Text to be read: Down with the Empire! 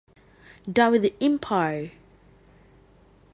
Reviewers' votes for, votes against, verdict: 2, 0, accepted